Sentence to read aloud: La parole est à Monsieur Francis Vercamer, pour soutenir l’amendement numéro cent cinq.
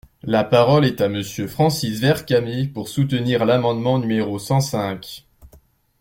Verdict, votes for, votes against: accepted, 2, 0